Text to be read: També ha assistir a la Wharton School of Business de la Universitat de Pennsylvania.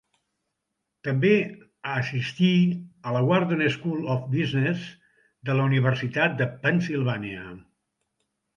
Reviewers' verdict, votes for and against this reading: accepted, 2, 0